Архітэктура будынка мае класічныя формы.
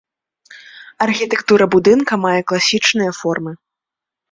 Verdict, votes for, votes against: accepted, 2, 0